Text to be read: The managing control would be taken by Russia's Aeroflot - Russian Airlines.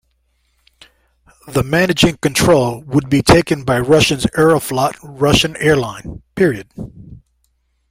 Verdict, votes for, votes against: rejected, 1, 2